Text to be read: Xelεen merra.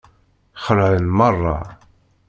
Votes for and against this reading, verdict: 2, 0, accepted